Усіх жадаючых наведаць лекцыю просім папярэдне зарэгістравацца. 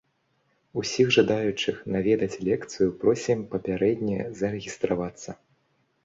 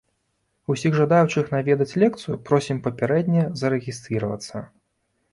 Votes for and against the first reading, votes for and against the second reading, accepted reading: 2, 0, 0, 2, first